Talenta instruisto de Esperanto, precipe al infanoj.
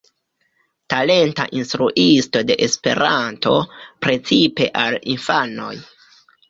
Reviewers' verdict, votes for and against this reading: accepted, 2, 1